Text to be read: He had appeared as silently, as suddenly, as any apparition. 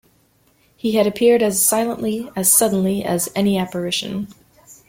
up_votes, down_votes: 2, 0